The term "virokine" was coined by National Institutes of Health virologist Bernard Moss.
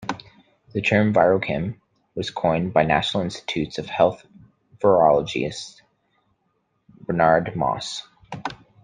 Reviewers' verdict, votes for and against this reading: accepted, 2, 1